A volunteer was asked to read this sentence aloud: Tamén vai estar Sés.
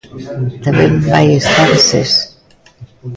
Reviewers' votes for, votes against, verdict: 1, 2, rejected